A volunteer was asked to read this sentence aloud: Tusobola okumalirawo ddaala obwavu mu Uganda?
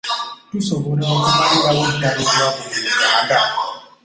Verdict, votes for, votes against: accepted, 2, 0